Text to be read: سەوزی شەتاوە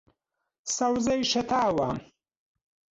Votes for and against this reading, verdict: 0, 2, rejected